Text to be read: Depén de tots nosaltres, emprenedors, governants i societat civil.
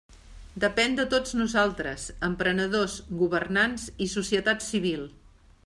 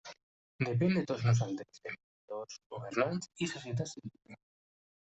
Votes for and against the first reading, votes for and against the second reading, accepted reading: 3, 0, 0, 2, first